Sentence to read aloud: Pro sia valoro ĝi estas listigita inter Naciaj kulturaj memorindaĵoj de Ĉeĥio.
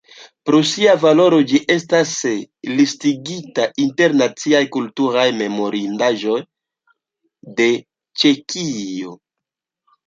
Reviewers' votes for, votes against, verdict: 3, 4, rejected